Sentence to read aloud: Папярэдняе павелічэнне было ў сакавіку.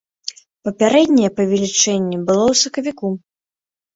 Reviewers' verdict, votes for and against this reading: accepted, 3, 0